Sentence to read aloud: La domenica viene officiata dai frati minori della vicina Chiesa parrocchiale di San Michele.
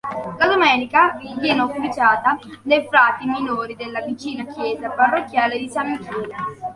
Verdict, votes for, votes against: accepted, 2, 1